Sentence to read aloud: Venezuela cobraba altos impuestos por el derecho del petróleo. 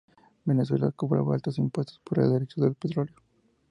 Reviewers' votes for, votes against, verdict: 2, 0, accepted